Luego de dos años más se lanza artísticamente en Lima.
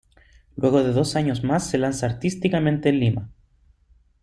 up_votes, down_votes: 2, 0